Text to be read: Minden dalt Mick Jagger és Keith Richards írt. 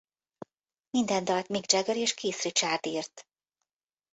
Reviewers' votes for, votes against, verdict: 1, 2, rejected